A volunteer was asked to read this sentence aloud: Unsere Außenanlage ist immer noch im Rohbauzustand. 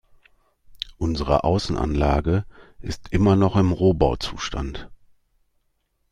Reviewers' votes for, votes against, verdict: 2, 0, accepted